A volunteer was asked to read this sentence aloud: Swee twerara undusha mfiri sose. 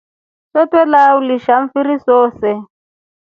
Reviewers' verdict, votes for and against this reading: rejected, 1, 2